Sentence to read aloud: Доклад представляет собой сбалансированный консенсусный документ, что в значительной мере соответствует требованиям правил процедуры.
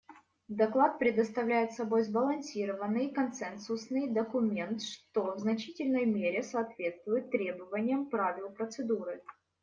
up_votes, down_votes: 1, 2